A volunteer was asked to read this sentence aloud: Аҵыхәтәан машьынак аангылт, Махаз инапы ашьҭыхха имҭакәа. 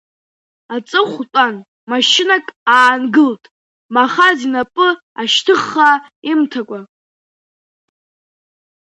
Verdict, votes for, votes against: accepted, 2, 0